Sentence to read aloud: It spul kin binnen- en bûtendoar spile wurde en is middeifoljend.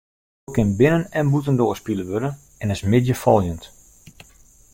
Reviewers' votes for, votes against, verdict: 1, 2, rejected